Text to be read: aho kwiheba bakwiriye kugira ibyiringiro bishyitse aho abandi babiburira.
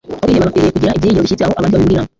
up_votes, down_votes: 0, 2